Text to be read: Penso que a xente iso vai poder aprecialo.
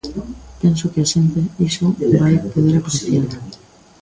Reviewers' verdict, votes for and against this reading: rejected, 0, 3